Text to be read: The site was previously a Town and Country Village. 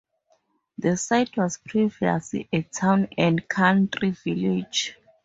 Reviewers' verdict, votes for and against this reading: accepted, 2, 0